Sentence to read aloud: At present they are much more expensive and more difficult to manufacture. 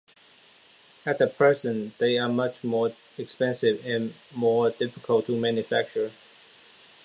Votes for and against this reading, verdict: 0, 2, rejected